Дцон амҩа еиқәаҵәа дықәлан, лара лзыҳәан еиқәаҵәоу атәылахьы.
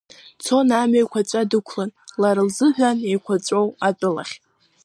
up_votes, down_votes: 1, 2